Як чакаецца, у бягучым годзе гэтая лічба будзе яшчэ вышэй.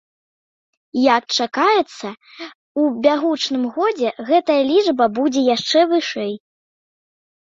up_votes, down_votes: 1, 2